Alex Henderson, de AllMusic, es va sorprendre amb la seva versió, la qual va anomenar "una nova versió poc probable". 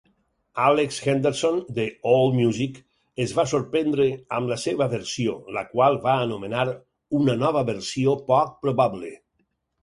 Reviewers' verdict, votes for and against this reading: accepted, 4, 0